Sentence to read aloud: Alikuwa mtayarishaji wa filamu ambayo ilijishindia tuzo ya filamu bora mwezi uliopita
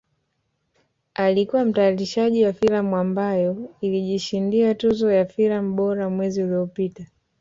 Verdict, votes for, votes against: accepted, 3, 1